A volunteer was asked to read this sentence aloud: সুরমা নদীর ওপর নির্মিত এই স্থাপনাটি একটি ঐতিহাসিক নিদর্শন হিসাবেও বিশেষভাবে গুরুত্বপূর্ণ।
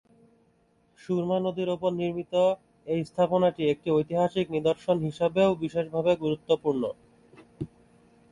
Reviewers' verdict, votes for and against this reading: accepted, 2, 1